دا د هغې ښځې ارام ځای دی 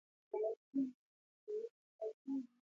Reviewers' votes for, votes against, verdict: 1, 2, rejected